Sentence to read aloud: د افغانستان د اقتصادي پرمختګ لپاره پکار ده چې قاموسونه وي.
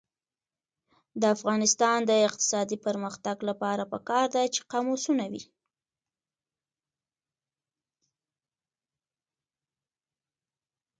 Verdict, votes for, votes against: accepted, 2, 0